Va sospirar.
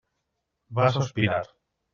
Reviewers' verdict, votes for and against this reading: accepted, 3, 1